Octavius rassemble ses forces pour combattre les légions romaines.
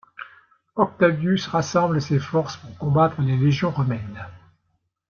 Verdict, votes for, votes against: accepted, 2, 0